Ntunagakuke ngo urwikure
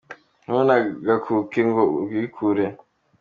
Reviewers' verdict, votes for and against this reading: accepted, 2, 1